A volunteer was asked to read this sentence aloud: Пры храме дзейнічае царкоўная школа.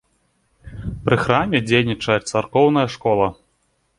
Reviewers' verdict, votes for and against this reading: accepted, 2, 1